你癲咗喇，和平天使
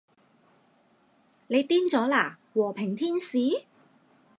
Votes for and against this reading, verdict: 0, 2, rejected